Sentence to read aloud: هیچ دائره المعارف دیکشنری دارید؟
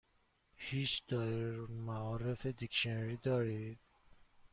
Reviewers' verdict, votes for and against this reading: rejected, 1, 2